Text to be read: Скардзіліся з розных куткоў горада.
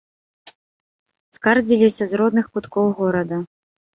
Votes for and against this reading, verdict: 1, 2, rejected